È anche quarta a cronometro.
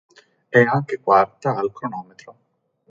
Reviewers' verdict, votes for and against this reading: rejected, 1, 2